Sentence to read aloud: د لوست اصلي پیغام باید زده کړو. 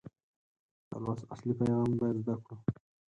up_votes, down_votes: 4, 0